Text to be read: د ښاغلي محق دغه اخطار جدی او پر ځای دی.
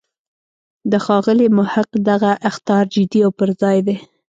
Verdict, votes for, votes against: accepted, 3, 0